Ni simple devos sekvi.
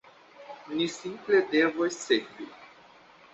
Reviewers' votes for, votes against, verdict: 2, 1, accepted